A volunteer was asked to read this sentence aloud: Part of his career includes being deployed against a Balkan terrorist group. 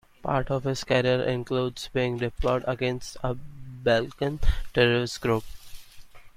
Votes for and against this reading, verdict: 2, 0, accepted